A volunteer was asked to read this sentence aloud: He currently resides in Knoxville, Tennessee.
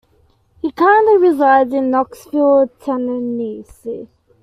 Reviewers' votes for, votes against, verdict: 0, 2, rejected